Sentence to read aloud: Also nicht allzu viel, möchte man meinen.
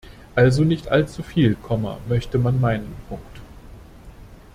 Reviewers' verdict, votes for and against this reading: rejected, 0, 2